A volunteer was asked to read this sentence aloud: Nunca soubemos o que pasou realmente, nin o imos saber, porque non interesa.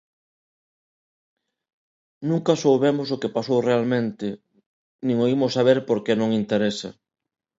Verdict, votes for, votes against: accepted, 2, 0